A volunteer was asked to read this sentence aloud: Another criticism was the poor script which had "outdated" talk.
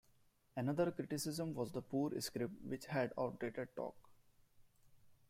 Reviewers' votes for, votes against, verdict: 1, 2, rejected